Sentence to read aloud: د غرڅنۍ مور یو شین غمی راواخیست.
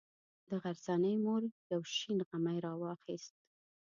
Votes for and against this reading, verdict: 1, 2, rejected